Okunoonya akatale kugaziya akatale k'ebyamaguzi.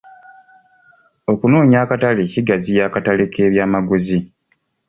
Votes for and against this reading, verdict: 2, 0, accepted